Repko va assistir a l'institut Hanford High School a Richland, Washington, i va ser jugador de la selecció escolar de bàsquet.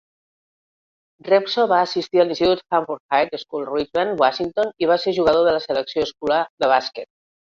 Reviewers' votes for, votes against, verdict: 1, 2, rejected